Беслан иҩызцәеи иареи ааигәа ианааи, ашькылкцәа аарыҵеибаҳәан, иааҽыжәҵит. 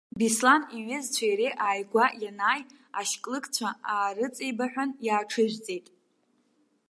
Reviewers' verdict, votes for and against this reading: rejected, 0, 2